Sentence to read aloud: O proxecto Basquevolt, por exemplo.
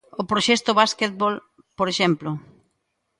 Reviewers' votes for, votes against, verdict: 0, 2, rejected